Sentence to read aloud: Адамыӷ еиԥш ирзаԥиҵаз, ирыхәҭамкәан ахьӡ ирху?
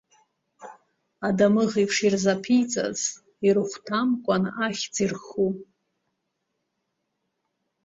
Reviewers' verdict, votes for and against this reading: accepted, 2, 0